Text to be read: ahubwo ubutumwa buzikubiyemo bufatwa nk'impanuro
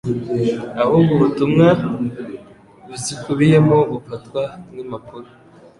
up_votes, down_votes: 1, 2